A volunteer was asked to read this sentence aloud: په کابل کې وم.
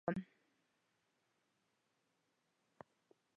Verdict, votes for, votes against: rejected, 0, 2